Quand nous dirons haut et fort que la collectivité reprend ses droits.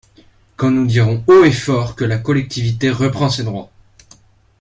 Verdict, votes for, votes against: accepted, 2, 0